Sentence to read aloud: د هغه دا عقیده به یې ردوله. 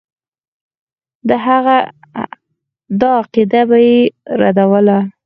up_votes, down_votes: 4, 0